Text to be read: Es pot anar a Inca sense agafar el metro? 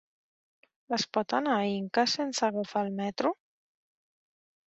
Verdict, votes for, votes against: rejected, 1, 2